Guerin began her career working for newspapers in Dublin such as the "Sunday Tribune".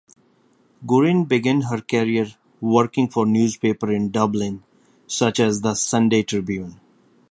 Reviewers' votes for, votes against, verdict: 1, 2, rejected